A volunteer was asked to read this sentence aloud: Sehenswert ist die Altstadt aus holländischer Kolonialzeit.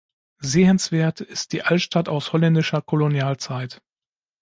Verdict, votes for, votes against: accepted, 2, 0